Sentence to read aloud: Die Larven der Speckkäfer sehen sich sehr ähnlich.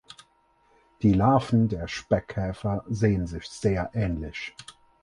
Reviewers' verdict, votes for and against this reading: accepted, 4, 0